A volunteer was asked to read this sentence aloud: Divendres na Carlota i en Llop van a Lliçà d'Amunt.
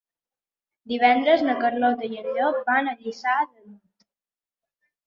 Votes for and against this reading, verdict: 0, 2, rejected